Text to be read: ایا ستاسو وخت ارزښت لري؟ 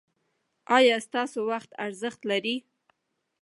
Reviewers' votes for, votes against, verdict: 1, 2, rejected